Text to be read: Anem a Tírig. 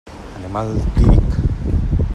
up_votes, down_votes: 0, 2